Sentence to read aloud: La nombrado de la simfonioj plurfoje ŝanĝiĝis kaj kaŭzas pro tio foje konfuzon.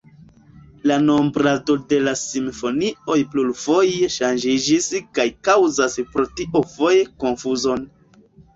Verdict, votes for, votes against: accepted, 3, 0